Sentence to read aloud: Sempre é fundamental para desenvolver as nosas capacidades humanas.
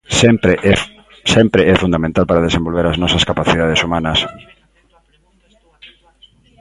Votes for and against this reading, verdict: 0, 2, rejected